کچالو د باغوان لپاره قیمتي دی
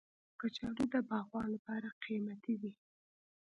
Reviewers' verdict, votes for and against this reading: accepted, 2, 0